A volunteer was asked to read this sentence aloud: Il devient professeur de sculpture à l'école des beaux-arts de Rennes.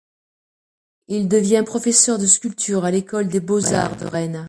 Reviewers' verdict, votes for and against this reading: accepted, 3, 2